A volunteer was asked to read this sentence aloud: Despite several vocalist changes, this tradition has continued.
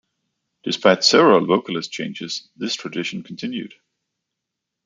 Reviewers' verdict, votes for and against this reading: rejected, 0, 2